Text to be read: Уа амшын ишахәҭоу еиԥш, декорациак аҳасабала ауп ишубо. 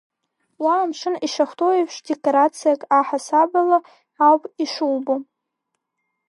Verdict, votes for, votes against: rejected, 0, 2